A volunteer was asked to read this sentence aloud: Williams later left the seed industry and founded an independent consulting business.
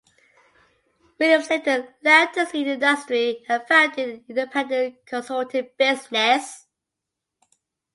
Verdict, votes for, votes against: accepted, 2, 1